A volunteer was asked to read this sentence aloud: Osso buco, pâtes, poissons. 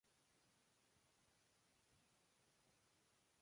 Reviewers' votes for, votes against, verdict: 0, 2, rejected